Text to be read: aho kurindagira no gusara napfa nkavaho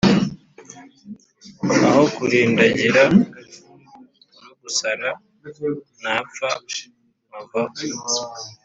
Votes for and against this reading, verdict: 2, 0, accepted